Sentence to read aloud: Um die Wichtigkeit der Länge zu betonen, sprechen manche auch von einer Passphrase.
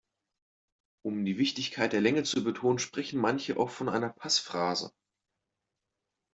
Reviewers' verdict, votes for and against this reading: accepted, 2, 0